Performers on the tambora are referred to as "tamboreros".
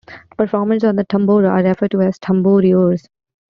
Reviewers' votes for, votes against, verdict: 0, 2, rejected